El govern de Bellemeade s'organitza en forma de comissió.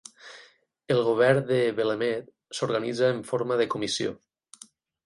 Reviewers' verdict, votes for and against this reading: accepted, 8, 0